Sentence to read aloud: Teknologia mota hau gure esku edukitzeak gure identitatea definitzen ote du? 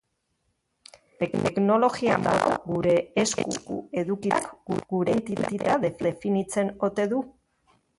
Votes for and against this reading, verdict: 0, 2, rejected